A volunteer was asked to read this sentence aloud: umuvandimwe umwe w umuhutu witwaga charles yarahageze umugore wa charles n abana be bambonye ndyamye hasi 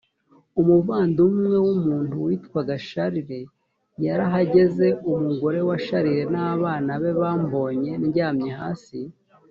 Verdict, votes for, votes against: rejected, 2, 3